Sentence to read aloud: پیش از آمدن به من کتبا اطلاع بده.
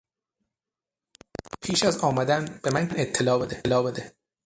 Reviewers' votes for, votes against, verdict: 0, 3, rejected